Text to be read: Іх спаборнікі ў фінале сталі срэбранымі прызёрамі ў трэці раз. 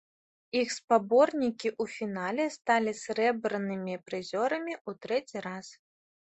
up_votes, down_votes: 2, 0